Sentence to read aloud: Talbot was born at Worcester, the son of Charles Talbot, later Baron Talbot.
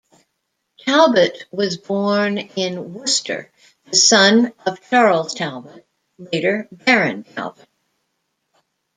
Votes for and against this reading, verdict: 0, 2, rejected